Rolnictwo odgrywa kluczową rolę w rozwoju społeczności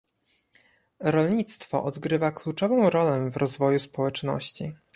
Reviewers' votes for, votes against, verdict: 2, 0, accepted